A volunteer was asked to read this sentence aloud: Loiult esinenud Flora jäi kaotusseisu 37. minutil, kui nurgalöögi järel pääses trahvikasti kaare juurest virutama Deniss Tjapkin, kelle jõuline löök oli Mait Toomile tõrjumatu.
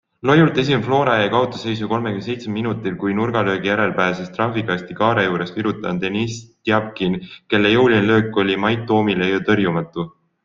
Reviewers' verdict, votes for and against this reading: rejected, 0, 2